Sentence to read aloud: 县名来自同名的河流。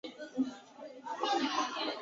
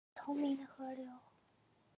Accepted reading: first